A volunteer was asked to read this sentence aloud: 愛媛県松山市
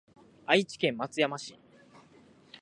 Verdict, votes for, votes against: rejected, 1, 2